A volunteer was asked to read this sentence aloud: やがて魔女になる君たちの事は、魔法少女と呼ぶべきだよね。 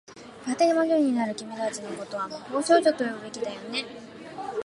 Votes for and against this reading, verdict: 2, 0, accepted